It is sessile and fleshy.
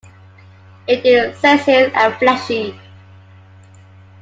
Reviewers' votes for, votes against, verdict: 2, 1, accepted